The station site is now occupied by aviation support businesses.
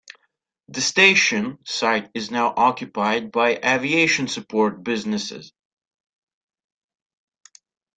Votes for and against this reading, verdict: 2, 0, accepted